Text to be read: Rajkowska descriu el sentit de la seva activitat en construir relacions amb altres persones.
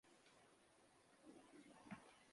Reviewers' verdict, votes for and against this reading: rejected, 0, 2